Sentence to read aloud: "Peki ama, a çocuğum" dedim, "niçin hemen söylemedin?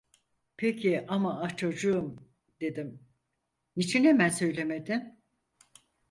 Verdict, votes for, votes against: accepted, 4, 0